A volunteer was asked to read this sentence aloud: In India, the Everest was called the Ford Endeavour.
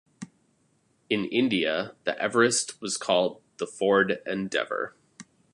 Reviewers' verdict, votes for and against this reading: accepted, 2, 0